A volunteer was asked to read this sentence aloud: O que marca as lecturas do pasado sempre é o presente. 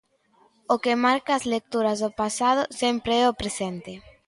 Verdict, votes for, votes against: accepted, 2, 0